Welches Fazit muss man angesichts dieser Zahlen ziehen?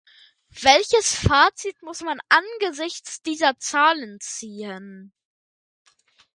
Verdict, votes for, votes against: accepted, 2, 0